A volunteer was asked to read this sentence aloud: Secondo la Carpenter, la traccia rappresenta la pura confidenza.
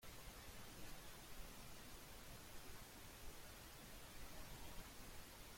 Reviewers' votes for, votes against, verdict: 0, 2, rejected